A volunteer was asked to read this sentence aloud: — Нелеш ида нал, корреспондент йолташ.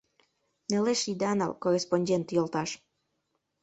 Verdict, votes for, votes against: rejected, 0, 2